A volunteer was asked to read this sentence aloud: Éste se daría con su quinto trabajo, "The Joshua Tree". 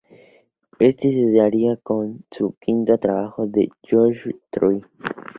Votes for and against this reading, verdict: 0, 2, rejected